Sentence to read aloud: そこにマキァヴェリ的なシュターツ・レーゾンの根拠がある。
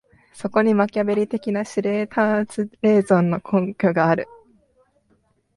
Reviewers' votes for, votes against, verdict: 3, 4, rejected